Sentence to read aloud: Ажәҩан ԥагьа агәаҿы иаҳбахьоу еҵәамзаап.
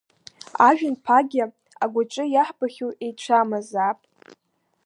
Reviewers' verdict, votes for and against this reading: rejected, 0, 2